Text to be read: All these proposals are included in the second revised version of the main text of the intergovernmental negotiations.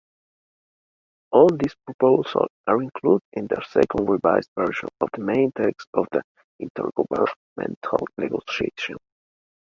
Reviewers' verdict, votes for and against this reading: rejected, 1, 3